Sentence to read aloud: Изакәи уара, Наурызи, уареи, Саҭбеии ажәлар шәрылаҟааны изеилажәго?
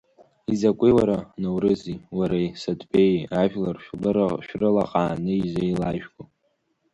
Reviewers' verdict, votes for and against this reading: accepted, 2, 1